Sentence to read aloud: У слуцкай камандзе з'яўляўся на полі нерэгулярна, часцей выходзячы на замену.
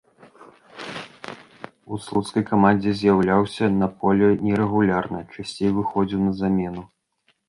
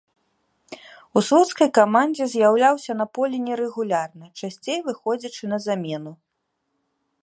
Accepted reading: second